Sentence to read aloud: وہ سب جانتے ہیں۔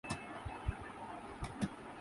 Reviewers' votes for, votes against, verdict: 0, 2, rejected